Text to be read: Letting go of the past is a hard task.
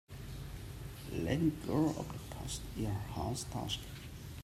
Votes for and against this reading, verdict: 1, 2, rejected